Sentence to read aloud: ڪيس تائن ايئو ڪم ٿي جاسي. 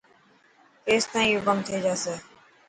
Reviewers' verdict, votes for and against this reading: accepted, 2, 0